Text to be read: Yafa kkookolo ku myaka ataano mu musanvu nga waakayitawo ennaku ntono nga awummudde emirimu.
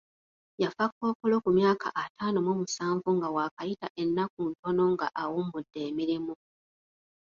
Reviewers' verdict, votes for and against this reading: rejected, 0, 2